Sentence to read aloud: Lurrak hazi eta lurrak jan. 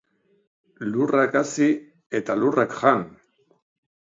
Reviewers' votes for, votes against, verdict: 2, 0, accepted